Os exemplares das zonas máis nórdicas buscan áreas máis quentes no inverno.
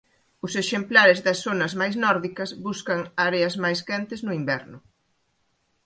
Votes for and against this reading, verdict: 2, 0, accepted